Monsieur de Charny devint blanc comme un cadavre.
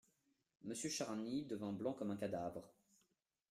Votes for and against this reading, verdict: 1, 2, rejected